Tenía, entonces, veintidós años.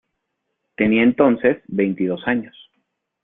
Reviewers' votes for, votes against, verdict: 2, 0, accepted